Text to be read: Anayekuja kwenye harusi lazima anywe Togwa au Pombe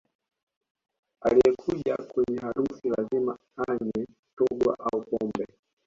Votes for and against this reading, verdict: 0, 2, rejected